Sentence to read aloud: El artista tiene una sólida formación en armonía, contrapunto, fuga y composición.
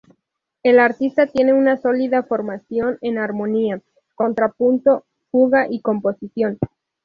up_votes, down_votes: 2, 0